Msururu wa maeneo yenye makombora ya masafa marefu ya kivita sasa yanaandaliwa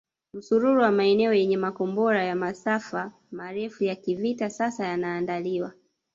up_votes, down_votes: 1, 2